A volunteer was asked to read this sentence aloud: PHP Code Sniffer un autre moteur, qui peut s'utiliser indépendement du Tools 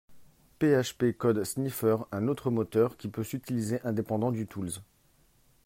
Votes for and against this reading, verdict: 0, 2, rejected